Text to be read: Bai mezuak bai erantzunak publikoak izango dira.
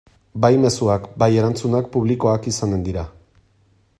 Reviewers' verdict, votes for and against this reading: rejected, 2, 3